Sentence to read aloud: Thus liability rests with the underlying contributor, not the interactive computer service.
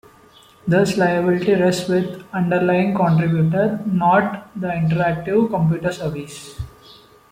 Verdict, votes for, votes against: rejected, 1, 2